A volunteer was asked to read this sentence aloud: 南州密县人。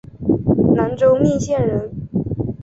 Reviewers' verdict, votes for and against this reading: accepted, 3, 0